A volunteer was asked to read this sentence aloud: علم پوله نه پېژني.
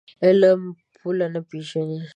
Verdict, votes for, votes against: accepted, 2, 0